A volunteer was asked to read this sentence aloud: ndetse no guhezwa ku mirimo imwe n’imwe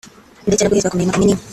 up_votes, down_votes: 0, 2